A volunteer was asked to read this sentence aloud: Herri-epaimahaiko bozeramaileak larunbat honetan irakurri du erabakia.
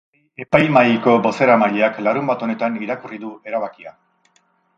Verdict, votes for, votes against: rejected, 0, 4